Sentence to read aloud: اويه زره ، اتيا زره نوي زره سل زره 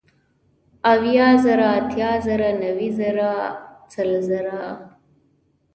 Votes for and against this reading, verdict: 0, 2, rejected